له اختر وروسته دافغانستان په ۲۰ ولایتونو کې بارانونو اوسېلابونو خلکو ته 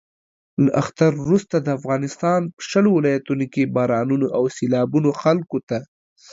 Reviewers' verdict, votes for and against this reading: rejected, 0, 2